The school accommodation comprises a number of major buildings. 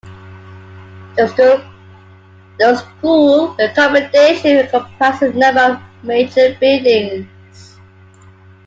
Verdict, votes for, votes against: rejected, 1, 2